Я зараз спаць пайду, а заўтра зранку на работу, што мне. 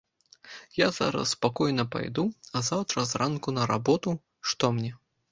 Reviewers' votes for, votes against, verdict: 0, 2, rejected